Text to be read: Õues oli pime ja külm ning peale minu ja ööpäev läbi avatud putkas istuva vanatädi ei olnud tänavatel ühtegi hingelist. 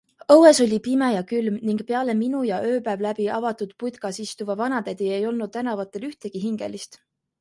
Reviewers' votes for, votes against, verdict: 2, 0, accepted